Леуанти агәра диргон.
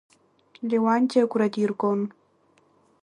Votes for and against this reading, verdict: 2, 0, accepted